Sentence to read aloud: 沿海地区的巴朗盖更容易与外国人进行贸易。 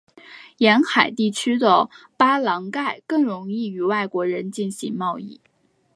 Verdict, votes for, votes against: accepted, 2, 0